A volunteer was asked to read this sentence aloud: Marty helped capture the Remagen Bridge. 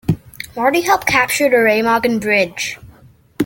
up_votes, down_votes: 2, 1